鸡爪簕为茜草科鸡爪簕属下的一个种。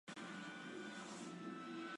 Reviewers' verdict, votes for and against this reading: rejected, 0, 3